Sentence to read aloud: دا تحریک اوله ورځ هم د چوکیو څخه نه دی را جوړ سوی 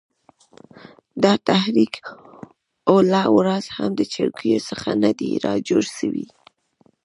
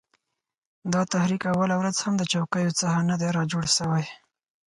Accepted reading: second